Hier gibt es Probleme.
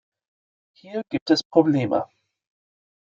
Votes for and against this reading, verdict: 2, 0, accepted